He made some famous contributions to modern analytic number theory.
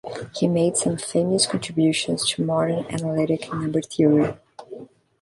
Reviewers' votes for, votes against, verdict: 1, 2, rejected